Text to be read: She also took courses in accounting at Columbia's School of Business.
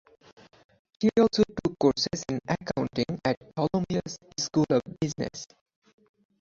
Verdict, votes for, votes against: rejected, 0, 4